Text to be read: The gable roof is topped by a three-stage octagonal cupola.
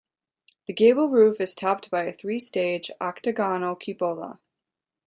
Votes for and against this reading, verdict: 2, 0, accepted